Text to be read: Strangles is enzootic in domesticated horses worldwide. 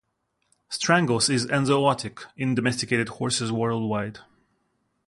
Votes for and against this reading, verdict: 2, 0, accepted